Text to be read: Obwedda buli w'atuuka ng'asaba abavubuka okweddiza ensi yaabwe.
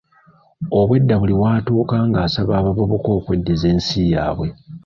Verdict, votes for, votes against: rejected, 1, 2